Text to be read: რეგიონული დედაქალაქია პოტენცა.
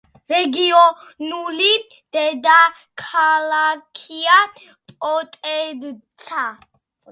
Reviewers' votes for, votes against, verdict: 2, 1, accepted